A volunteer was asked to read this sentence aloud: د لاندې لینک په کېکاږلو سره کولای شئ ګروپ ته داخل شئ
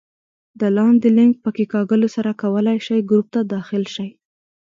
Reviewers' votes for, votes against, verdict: 2, 0, accepted